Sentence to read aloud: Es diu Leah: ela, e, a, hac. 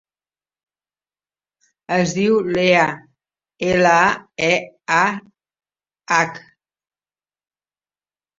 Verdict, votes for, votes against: accepted, 3, 2